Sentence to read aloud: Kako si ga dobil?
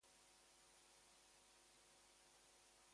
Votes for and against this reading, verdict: 2, 2, rejected